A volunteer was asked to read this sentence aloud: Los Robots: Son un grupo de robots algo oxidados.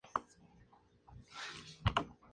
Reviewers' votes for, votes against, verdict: 0, 2, rejected